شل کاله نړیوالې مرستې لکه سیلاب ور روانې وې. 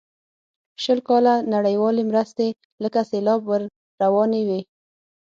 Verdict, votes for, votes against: accepted, 6, 0